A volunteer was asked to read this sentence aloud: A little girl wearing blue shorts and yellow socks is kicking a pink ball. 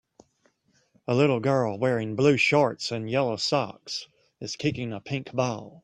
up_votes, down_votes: 3, 0